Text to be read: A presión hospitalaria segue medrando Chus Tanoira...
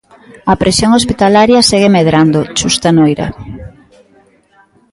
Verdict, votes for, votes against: accepted, 2, 0